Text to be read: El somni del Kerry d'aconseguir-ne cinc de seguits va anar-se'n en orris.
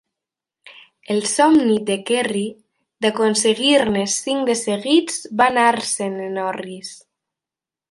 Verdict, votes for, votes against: accepted, 2, 0